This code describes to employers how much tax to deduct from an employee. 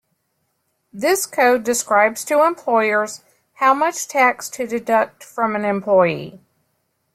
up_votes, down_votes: 2, 0